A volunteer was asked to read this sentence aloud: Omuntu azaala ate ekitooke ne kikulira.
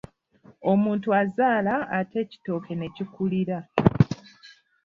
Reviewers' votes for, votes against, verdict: 0, 2, rejected